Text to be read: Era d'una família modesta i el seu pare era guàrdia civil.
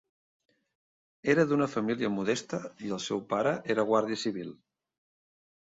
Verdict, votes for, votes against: accepted, 3, 0